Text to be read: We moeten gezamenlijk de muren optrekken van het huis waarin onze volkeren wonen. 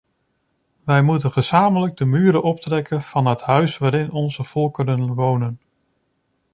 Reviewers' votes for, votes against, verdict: 1, 2, rejected